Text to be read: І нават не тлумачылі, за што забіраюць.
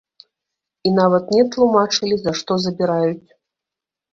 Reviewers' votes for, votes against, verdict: 1, 2, rejected